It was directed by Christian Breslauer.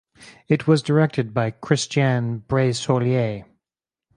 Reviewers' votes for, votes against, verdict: 0, 4, rejected